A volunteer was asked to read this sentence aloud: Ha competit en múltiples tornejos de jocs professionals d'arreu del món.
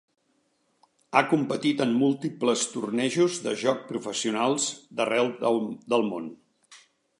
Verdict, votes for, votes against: rejected, 1, 2